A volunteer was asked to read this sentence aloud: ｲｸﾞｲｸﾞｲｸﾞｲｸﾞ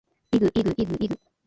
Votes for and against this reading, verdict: 2, 1, accepted